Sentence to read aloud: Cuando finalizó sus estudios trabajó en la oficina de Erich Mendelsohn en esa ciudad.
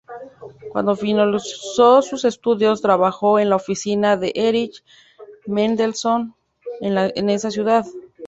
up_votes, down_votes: 0, 2